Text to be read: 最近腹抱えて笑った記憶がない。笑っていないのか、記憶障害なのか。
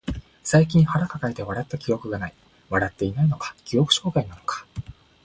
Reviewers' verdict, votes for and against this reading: accepted, 2, 1